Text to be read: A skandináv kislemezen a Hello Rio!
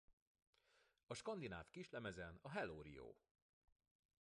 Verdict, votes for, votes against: accepted, 2, 0